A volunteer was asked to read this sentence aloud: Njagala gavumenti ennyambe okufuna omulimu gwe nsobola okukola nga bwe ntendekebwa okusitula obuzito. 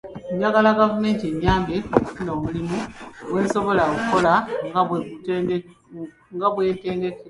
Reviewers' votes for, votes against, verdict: 1, 2, rejected